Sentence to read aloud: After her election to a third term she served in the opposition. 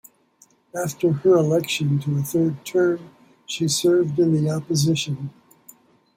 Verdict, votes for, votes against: accepted, 2, 0